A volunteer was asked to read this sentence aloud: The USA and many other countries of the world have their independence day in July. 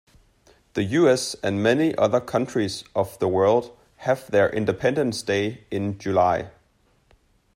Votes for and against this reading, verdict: 0, 2, rejected